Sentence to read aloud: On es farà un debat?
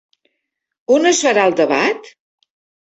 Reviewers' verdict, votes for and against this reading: rejected, 2, 3